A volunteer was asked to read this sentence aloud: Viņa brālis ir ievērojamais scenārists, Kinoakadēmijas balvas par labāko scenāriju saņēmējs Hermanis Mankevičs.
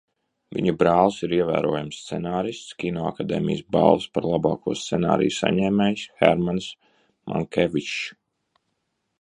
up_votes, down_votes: 1, 2